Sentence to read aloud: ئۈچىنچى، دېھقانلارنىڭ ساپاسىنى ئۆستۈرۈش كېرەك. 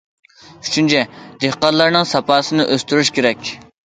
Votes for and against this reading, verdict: 2, 0, accepted